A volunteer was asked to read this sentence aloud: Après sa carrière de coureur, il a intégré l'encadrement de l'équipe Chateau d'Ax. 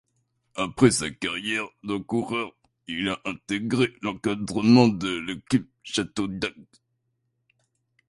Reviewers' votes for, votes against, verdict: 1, 2, rejected